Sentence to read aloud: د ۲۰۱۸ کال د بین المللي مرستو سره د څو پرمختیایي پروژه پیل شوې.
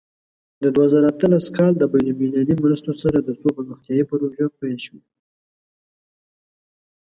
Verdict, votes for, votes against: rejected, 0, 2